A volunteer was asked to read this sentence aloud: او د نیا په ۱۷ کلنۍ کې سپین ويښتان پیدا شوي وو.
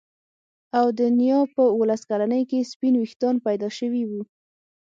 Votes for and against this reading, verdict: 0, 2, rejected